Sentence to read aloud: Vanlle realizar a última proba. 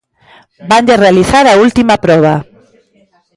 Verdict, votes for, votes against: accepted, 2, 0